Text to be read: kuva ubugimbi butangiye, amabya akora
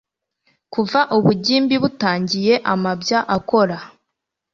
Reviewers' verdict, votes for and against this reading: accepted, 2, 0